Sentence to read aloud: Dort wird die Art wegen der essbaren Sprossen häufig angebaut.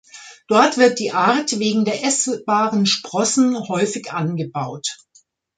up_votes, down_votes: 1, 2